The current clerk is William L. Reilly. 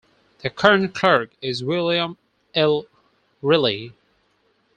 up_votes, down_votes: 2, 4